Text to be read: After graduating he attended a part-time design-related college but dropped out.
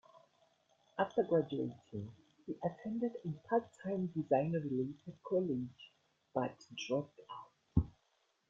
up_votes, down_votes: 0, 2